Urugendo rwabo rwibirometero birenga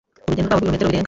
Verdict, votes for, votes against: rejected, 0, 2